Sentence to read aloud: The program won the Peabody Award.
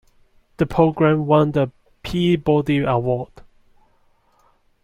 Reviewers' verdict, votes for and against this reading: accepted, 2, 0